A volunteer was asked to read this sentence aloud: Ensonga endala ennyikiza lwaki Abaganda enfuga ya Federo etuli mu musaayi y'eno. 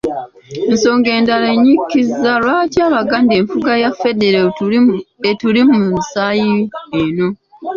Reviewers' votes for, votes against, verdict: 2, 1, accepted